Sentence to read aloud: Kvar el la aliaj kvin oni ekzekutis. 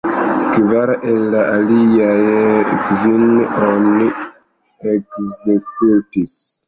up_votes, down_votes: 4, 5